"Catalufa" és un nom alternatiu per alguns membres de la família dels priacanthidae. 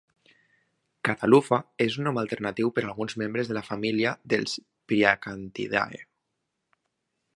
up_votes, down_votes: 2, 0